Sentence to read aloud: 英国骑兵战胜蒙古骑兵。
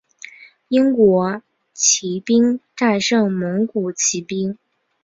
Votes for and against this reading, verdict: 3, 0, accepted